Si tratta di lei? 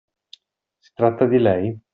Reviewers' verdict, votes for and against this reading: accepted, 2, 1